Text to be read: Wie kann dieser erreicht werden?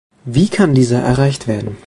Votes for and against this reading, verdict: 2, 0, accepted